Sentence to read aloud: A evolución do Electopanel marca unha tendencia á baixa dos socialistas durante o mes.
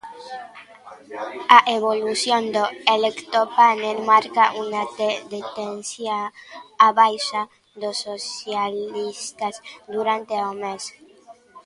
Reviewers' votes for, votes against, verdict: 0, 2, rejected